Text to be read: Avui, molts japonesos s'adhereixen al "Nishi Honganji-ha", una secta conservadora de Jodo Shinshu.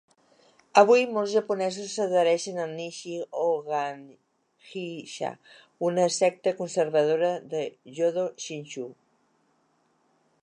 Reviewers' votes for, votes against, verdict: 1, 2, rejected